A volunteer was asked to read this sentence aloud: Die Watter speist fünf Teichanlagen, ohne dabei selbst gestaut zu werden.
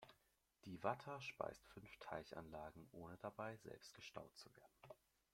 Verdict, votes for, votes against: rejected, 1, 2